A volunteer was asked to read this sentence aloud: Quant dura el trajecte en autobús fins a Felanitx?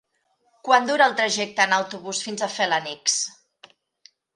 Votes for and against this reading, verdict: 2, 1, accepted